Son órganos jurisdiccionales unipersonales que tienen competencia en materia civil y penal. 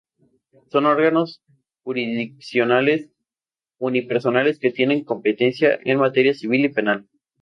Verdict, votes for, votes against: accepted, 2, 0